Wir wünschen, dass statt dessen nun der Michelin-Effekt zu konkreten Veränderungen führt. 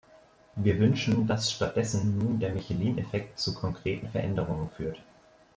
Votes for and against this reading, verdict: 2, 0, accepted